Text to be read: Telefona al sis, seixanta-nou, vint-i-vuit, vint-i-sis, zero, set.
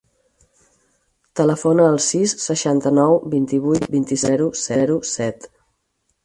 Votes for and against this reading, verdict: 2, 6, rejected